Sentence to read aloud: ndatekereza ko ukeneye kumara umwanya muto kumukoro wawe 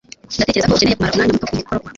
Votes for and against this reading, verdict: 1, 2, rejected